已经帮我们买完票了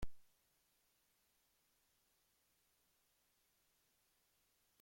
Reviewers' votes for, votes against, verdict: 1, 2, rejected